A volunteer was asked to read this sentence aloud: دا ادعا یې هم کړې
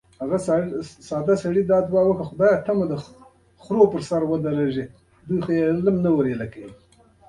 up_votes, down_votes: 0, 2